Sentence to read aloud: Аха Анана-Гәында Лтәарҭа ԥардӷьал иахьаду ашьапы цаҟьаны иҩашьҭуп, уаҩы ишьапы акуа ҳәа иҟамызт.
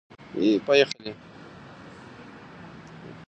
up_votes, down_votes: 0, 2